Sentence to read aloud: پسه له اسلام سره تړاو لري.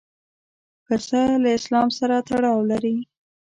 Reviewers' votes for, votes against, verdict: 2, 0, accepted